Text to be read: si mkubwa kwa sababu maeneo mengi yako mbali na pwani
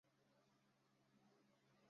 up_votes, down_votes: 0, 2